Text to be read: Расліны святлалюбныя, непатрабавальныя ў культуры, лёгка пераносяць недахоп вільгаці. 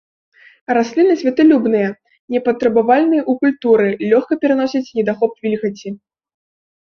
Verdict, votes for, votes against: rejected, 1, 2